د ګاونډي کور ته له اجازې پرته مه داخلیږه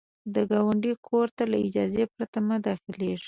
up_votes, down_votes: 2, 0